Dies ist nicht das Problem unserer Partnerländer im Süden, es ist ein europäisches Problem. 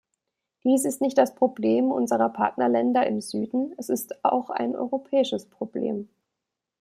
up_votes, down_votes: 1, 2